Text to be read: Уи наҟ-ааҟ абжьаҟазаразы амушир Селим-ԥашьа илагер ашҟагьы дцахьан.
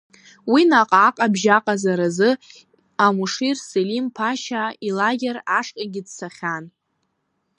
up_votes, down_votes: 1, 2